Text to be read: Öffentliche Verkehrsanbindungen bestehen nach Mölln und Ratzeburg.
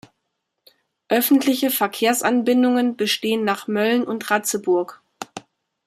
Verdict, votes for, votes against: accepted, 2, 0